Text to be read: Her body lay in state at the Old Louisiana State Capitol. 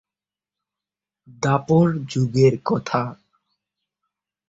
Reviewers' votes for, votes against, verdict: 0, 2, rejected